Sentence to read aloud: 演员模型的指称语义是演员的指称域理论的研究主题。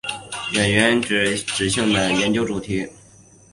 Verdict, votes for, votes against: rejected, 0, 4